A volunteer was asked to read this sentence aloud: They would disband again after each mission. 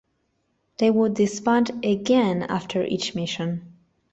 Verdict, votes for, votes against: rejected, 1, 2